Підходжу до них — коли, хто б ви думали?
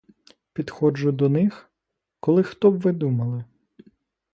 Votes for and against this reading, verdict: 2, 0, accepted